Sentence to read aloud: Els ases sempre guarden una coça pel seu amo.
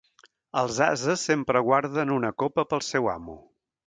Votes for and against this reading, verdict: 0, 2, rejected